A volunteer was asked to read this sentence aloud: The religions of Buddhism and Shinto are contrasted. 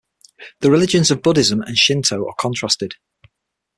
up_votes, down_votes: 6, 0